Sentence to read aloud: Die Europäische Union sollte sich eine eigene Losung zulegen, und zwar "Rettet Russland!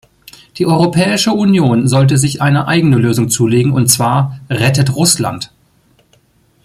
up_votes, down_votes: 1, 2